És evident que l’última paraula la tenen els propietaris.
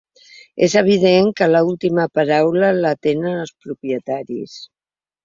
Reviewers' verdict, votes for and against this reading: rejected, 1, 2